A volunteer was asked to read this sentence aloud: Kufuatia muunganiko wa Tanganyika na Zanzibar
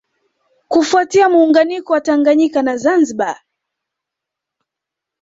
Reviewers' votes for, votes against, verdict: 2, 0, accepted